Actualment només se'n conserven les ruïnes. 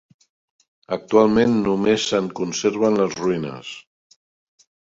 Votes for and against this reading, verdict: 5, 0, accepted